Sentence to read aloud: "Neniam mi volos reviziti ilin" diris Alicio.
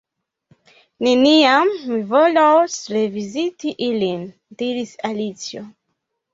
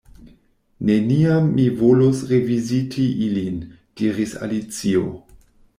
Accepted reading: second